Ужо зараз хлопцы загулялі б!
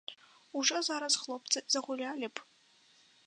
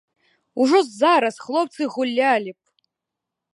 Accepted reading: first